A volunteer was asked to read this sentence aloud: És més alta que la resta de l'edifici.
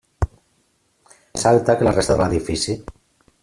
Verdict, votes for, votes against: rejected, 0, 2